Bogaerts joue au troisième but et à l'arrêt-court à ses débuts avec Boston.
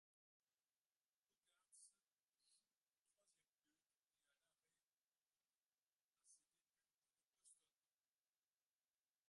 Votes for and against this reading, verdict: 0, 2, rejected